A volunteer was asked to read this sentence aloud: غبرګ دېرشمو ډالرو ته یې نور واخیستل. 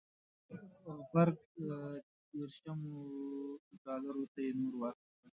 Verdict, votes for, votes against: rejected, 0, 2